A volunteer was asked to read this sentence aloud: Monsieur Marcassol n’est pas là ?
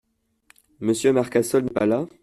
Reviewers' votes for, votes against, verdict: 2, 1, accepted